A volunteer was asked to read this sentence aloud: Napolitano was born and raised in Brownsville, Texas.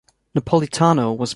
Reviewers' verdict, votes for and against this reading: rejected, 0, 2